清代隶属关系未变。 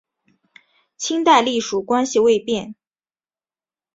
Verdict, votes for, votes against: accepted, 2, 1